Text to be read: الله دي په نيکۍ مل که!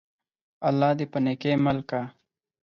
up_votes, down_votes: 4, 0